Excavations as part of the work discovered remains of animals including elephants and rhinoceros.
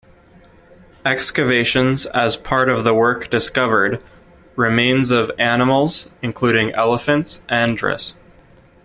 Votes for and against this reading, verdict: 0, 2, rejected